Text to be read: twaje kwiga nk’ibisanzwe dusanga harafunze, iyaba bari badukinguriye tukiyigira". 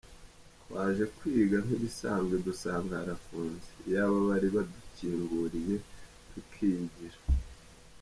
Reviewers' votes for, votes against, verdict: 0, 2, rejected